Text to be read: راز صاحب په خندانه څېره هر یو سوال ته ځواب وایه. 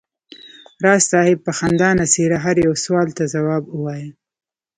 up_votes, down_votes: 2, 0